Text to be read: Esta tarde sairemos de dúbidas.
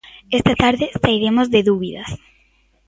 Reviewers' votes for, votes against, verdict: 2, 0, accepted